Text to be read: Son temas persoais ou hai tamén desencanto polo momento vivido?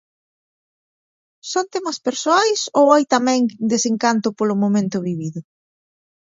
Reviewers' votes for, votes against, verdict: 2, 0, accepted